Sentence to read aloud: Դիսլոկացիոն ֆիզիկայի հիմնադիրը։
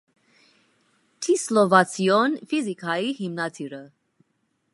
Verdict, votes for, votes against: rejected, 0, 2